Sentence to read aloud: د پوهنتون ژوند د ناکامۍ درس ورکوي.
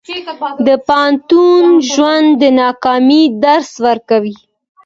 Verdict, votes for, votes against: accepted, 2, 0